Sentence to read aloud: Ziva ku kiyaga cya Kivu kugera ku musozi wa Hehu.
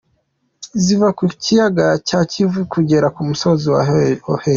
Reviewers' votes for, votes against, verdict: 1, 2, rejected